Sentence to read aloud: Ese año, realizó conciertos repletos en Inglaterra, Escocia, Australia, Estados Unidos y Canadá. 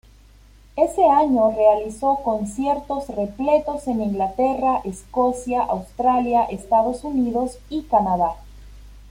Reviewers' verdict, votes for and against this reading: accepted, 2, 0